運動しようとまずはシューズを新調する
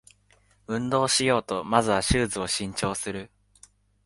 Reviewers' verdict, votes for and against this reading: accepted, 15, 1